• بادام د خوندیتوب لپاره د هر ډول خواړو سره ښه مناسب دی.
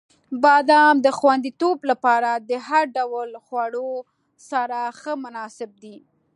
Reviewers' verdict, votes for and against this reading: accepted, 2, 0